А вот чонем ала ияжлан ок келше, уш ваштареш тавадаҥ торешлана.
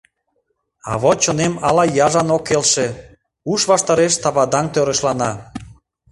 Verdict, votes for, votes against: rejected, 0, 2